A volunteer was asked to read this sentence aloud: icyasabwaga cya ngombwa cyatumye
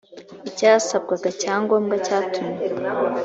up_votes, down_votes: 3, 0